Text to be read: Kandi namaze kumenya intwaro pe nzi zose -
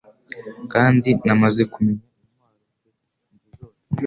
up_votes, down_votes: 1, 2